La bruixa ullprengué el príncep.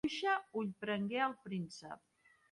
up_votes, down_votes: 0, 2